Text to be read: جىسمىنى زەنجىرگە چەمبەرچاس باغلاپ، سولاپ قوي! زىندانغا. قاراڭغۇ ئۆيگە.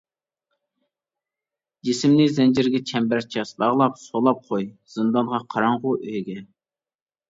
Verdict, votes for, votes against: rejected, 0, 2